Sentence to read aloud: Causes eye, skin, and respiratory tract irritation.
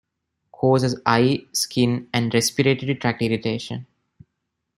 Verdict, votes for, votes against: accepted, 2, 0